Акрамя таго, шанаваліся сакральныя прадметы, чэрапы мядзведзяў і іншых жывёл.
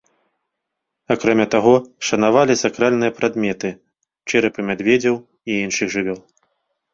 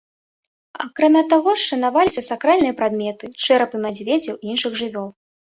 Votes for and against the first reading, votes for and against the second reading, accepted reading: 1, 2, 3, 0, second